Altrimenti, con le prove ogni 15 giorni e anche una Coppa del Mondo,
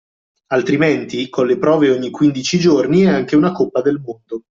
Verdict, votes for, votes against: rejected, 0, 2